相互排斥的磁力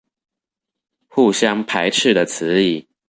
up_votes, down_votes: 1, 2